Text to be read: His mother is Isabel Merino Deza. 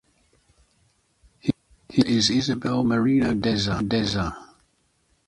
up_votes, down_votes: 1, 2